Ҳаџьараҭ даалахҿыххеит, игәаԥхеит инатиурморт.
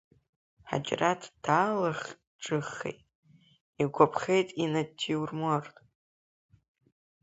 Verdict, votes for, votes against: accepted, 2, 0